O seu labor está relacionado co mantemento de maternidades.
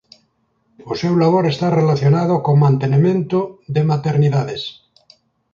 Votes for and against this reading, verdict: 1, 2, rejected